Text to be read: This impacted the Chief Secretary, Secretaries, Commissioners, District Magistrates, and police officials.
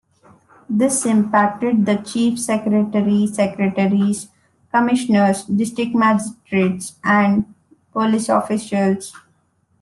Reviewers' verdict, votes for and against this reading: accepted, 2, 0